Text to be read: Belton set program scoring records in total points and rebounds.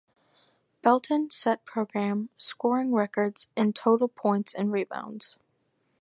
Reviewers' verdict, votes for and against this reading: accepted, 4, 0